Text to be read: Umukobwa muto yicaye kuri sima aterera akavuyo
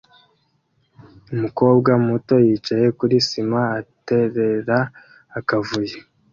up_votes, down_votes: 2, 0